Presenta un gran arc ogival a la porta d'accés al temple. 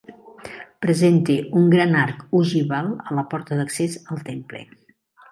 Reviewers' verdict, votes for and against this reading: accepted, 4, 0